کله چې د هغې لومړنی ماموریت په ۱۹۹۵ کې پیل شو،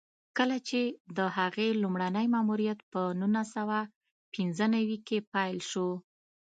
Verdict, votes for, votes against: rejected, 0, 2